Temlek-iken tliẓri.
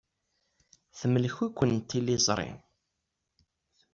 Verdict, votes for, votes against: accepted, 2, 0